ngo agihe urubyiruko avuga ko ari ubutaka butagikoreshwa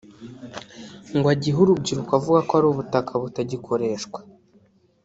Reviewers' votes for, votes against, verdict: 1, 2, rejected